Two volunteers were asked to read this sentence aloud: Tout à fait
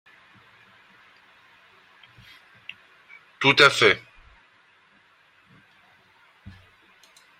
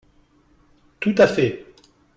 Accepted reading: second